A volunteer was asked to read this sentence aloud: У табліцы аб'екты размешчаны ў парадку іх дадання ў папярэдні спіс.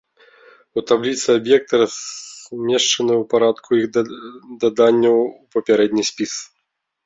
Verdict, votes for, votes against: rejected, 0, 2